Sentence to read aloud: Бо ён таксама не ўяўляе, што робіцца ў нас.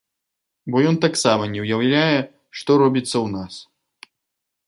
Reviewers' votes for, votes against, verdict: 2, 0, accepted